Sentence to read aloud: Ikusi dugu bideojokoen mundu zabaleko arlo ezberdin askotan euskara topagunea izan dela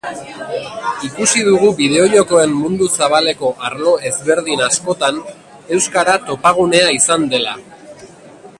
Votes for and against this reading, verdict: 1, 4, rejected